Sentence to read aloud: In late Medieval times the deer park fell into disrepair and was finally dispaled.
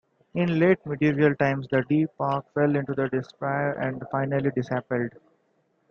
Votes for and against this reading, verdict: 2, 1, accepted